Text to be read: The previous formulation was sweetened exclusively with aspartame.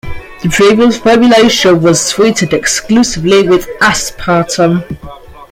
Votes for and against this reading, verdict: 0, 2, rejected